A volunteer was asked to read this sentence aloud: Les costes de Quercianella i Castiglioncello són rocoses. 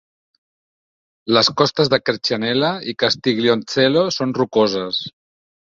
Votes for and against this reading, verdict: 2, 0, accepted